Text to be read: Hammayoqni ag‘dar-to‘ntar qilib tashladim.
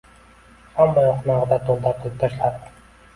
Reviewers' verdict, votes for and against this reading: accepted, 2, 0